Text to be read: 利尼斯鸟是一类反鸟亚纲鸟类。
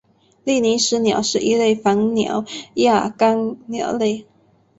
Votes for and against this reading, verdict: 3, 0, accepted